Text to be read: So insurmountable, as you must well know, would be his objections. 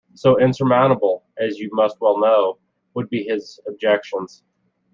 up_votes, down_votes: 2, 0